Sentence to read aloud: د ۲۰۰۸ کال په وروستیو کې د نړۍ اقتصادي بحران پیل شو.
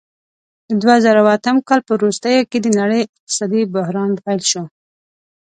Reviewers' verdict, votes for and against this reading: rejected, 0, 2